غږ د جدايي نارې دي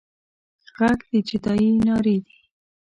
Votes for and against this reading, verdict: 2, 0, accepted